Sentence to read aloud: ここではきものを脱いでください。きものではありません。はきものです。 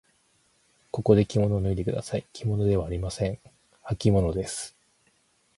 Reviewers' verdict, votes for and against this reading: rejected, 2, 4